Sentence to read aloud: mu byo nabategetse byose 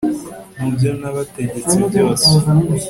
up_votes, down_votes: 2, 0